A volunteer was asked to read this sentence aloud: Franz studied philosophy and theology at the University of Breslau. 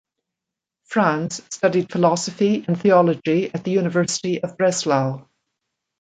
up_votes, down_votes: 2, 0